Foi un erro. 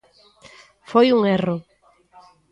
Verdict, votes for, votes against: accepted, 2, 0